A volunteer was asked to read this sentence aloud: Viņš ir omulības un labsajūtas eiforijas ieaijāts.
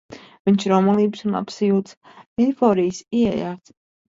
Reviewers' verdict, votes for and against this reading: rejected, 0, 2